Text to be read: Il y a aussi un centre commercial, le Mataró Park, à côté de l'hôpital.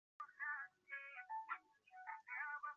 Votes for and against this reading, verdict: 0, 2, rejected